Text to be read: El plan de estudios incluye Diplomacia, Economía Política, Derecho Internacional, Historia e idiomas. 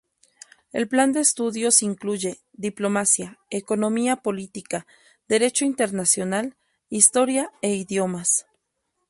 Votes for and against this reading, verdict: 2, 0, accepted